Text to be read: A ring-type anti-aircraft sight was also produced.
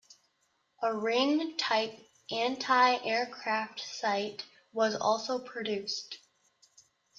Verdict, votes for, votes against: accepted, 2, 0